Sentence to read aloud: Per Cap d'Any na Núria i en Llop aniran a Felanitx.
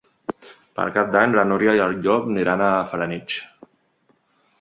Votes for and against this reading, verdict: 0, 2, rejected